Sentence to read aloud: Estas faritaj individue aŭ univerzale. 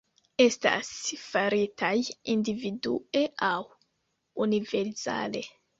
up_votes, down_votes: 0, 2